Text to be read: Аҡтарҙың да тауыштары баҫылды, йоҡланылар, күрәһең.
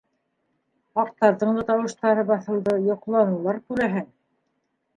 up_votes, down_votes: 0, 2